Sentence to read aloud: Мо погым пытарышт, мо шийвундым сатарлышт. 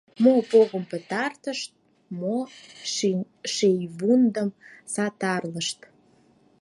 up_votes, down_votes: 0, 4